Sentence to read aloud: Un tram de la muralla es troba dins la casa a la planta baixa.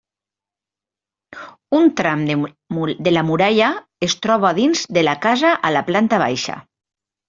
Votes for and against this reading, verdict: 0, 2, rejected